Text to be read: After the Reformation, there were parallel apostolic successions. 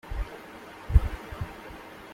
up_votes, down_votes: 0, 3